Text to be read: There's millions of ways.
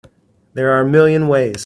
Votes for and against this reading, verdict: 0, 2, rejected